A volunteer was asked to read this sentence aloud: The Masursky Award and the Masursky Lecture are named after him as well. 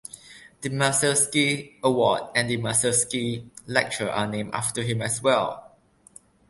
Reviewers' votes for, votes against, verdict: 2, 0, accepted